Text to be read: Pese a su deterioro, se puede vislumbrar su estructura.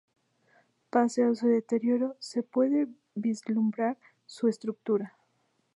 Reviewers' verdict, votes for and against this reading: rejected, 0, 2